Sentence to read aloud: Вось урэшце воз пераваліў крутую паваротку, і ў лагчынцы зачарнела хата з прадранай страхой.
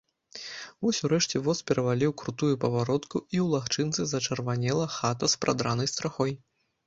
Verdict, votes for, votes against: rejected, 0, 2